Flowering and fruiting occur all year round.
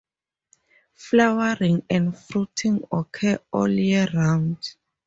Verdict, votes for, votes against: accepted, 4, 0